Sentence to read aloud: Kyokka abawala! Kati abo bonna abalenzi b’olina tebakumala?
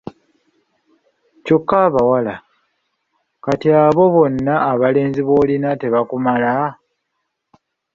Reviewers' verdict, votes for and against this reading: accepted, 2, 0